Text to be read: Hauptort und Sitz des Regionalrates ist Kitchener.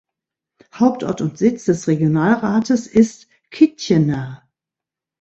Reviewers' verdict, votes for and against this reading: accepted, 2, 0